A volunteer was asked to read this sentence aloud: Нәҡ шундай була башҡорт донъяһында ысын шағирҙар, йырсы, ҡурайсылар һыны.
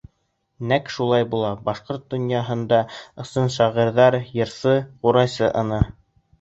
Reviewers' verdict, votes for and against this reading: rejected, 0, 2